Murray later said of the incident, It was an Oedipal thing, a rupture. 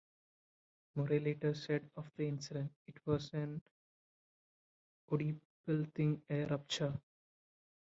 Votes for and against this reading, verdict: 0, 3, rejected